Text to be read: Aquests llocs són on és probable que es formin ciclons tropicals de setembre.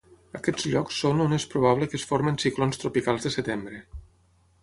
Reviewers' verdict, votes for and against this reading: accepted, 6, 0